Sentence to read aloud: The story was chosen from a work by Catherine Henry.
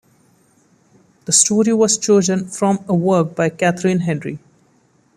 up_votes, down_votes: 2, 0